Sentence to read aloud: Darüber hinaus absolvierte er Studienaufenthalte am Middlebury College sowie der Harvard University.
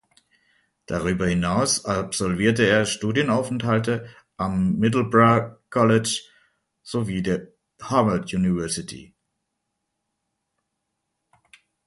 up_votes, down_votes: 1, 2